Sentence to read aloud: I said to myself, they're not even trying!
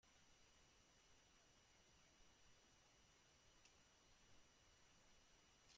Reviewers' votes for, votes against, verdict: 0, 2, rejected